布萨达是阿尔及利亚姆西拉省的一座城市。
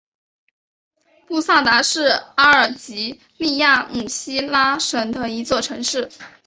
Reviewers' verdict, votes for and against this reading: accepted, 2, 0